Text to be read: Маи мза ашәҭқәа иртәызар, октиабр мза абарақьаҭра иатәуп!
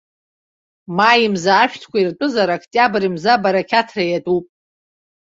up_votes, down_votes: 2, 0